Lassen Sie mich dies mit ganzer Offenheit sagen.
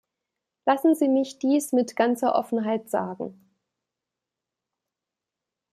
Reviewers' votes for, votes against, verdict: 2, 0, accepted